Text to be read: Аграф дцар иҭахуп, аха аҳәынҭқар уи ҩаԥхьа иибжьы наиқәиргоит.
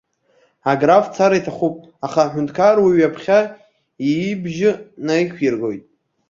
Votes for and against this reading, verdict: 0, 2, rejected